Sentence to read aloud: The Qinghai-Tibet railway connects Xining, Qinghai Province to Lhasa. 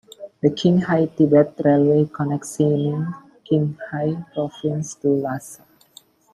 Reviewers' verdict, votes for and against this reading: rejected, 0, 2